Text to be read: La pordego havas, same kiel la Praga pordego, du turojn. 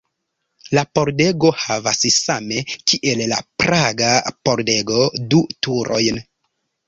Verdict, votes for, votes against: accepted, 2, 0